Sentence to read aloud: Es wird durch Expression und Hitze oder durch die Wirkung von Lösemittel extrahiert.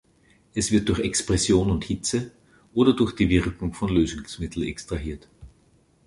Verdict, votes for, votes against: rejected, 1, 2